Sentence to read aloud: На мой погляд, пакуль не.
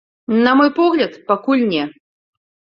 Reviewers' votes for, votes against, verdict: 2, 0, accepted